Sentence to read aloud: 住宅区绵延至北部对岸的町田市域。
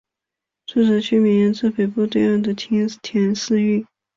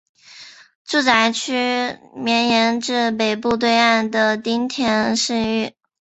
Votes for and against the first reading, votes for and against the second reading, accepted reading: 2, 3, 2, 1, second